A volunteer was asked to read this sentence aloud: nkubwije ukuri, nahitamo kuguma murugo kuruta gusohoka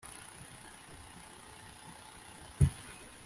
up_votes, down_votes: 1, 2